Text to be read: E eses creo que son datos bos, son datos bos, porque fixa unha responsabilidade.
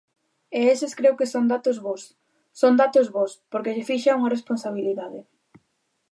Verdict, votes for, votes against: rejected, 1, 2